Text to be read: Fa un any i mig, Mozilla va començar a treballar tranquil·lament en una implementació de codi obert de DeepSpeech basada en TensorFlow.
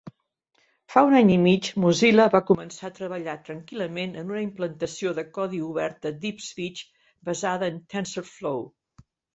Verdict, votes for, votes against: rejected, 1, 2